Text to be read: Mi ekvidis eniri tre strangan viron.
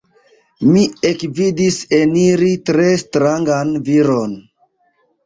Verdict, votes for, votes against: rejected, 1, 2